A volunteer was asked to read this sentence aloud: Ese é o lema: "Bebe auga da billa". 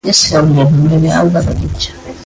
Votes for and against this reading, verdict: 0, 2, rejected